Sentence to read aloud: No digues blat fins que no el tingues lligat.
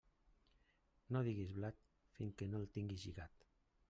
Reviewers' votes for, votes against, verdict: 0, 2, rejected